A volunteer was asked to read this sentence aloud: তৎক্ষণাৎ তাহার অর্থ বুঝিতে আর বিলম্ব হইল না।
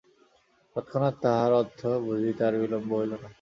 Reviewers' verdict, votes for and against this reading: rejected, 0, 2